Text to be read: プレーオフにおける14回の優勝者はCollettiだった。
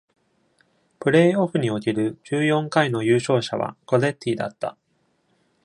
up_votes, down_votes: 0, 2